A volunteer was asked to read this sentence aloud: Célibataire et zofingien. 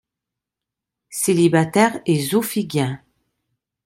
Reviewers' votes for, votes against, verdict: 0, 2, rejected